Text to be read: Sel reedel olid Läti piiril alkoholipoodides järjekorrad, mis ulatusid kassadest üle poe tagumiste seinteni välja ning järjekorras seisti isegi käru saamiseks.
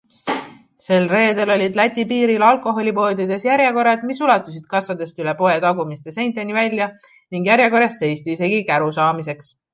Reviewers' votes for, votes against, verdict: 2, 0, accepted